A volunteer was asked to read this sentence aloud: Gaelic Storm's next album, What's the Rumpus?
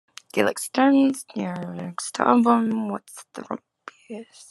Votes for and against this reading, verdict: 0, 2, rejected